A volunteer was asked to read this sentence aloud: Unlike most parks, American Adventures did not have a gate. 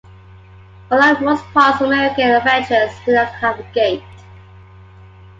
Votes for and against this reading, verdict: 2, 0, accepted